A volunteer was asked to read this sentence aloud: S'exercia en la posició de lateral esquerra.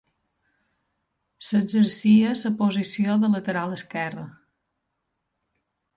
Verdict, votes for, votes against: rejected, 0, 2